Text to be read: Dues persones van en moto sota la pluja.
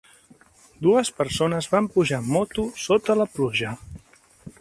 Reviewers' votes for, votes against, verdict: 0, 2, rejected